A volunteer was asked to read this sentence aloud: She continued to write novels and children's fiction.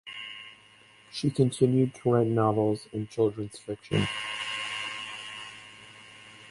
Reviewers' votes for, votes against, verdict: 4, 0, accepted